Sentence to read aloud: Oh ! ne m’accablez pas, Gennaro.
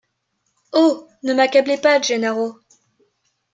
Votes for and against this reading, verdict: 2, 0, accepted